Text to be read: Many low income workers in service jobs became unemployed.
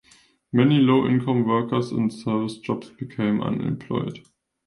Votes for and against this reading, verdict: 2, 0, accepted